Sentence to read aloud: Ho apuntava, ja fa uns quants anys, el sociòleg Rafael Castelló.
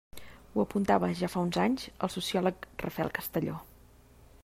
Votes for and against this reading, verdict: 0, 2, rejected